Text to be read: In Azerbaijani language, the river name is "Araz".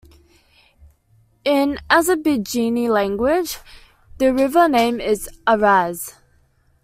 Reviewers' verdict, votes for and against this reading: accepted, 2, 0